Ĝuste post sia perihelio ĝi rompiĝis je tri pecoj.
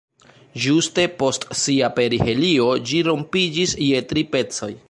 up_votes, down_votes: 1, 2